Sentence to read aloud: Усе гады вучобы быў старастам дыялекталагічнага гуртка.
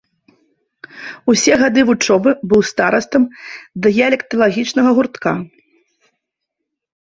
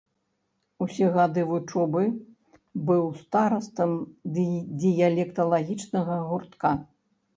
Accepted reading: first